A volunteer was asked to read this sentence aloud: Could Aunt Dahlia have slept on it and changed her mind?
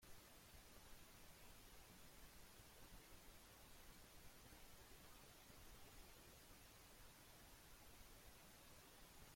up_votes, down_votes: 0, 2